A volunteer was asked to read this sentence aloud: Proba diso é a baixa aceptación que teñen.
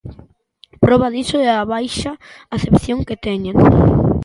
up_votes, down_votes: 0, 2